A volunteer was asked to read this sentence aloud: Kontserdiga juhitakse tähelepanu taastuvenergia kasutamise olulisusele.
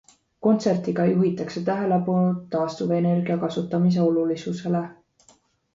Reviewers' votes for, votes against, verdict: 2, 0, accepted